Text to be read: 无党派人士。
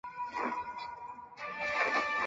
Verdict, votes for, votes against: rejected, 0, 2